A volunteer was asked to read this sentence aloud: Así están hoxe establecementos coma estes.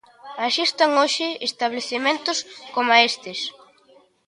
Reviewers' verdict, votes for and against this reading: accepted, 2, 1